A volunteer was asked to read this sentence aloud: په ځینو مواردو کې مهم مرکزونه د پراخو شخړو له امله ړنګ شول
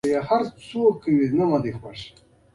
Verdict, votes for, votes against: rejected, 0, 2